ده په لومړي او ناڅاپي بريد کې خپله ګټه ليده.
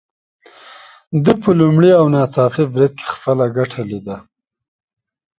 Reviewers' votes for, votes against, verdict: 2, 0, accepted